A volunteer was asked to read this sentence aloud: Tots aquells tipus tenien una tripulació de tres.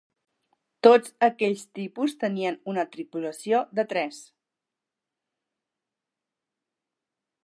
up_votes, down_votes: 3, 1